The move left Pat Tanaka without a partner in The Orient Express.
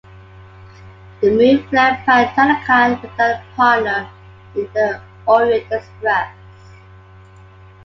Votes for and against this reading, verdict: 2, 0, accepted